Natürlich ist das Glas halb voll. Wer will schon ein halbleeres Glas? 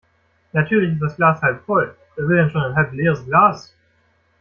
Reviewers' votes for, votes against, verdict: 1, 2, rejected